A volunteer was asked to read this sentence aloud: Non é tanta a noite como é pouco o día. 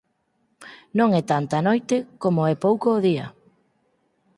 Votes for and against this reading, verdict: 4, 0, accepted